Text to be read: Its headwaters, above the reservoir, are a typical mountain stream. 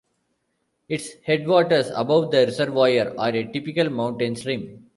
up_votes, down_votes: 0, 2